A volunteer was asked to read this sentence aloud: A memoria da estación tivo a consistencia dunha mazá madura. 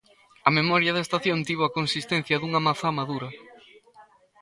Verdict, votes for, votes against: accepted, 2, 0